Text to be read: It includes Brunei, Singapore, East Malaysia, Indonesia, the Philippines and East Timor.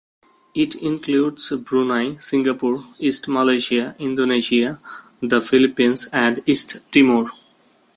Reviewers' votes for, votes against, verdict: 2, 0, accepted